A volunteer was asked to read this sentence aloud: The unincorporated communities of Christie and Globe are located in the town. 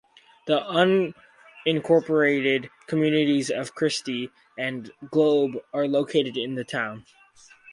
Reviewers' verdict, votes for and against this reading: accepted, 4, 0